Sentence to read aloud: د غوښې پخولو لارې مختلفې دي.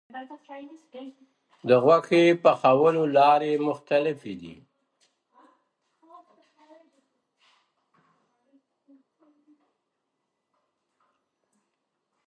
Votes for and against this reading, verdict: 1, 2, rejected